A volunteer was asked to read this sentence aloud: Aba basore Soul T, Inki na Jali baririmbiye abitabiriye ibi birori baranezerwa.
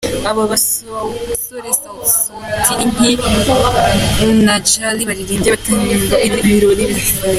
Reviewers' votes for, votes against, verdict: 0, 2, rejected